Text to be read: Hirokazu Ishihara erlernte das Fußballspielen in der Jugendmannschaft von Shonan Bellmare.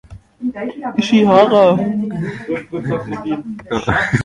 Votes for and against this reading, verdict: 0, 2, rejected